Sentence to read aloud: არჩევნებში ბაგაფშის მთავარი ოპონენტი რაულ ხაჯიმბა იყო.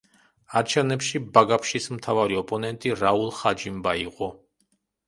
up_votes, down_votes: 2, 0